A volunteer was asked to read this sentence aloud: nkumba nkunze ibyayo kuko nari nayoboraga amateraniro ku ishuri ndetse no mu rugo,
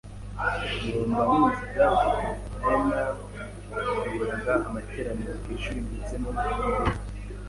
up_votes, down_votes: 0, 2